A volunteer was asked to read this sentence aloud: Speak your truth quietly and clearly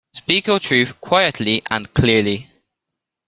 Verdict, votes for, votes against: accepted, 2, 0